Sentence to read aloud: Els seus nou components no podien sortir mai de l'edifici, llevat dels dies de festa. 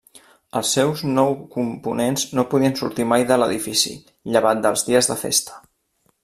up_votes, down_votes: 2, 0